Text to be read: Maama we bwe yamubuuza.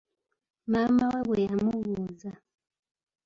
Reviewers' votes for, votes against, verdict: 2, 0, accepted